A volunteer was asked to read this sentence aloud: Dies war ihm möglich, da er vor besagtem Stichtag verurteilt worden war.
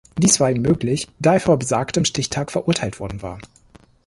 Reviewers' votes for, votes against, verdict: 2, 0, accepted